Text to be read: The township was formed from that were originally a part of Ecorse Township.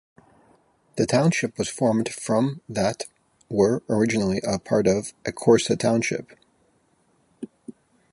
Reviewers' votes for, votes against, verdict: 6, 0, accepted